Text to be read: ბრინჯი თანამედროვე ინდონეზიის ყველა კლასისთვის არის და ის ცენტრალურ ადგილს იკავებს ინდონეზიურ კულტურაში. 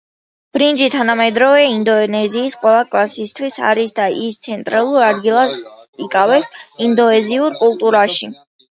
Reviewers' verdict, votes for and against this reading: accepted, 2, 0